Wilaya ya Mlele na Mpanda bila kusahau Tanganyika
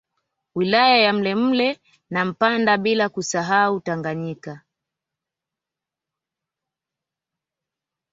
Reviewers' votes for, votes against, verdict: 2, 1, accepted